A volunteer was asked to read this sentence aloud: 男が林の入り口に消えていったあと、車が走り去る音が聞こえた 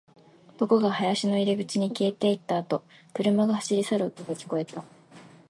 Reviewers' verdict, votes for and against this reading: accepted, 7, 0